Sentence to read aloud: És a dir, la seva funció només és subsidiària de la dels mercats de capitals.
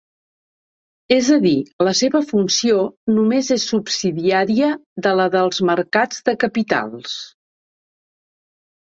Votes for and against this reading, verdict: 2, 0, accepted